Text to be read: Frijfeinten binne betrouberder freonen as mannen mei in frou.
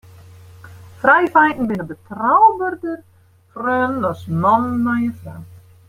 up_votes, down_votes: 0, 2